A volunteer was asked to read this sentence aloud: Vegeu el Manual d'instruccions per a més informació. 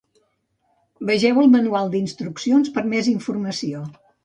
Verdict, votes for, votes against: rejected, 1, 2